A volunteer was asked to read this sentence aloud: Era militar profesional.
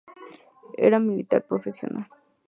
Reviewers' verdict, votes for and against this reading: accepted, 2, 0